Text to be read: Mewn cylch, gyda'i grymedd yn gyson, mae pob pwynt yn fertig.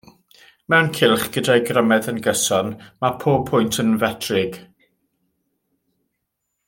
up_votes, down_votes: 0, 2